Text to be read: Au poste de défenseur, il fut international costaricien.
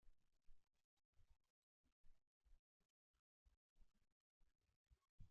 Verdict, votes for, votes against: rejected, 0, 2